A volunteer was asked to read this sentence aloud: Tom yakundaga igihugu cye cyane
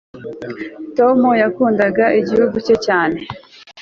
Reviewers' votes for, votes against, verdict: 3, 0, accepted